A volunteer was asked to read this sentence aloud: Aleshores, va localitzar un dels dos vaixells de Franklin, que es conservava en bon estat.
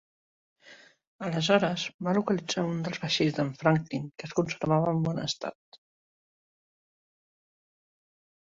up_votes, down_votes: 0, 2